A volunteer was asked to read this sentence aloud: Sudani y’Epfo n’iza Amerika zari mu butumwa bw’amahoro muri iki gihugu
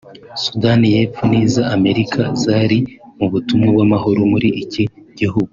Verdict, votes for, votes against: accepted, 2, 0